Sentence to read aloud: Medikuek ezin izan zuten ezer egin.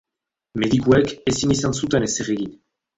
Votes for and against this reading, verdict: 1, 3, rejected